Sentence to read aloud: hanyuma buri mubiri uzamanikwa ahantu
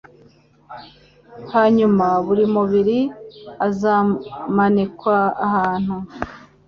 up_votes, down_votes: 1, 2